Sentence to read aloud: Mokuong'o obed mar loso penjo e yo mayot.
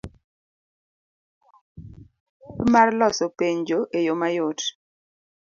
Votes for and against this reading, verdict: 1, 2, rejected